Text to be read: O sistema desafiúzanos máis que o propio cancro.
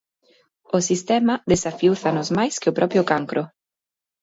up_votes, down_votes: 2, 0